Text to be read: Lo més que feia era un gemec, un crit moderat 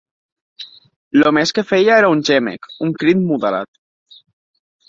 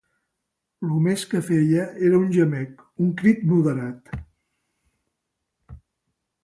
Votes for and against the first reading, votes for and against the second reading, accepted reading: 2, 3, 2, 0, second